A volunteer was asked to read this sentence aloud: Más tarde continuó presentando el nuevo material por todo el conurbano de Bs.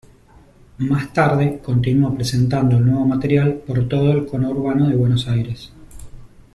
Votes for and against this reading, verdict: 0, 2, rejected